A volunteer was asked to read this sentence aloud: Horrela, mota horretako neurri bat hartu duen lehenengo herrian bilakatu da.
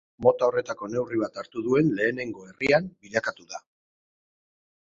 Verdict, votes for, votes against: rejected, 0, 2